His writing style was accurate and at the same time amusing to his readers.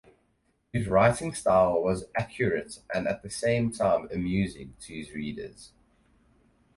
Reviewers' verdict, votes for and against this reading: accepted, 4, 0